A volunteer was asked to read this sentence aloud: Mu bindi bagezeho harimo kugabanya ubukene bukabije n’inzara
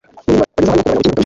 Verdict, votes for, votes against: rejected, 0, 2